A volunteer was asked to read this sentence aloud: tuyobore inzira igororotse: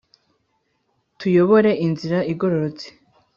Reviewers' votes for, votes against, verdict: 2, 0, accepted